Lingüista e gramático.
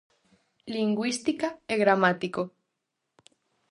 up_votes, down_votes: 2, 2